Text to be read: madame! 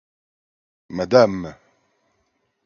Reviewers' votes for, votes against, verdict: 2, 0, accepted